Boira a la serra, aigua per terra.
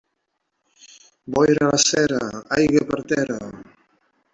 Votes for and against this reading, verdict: 0, 2, rejected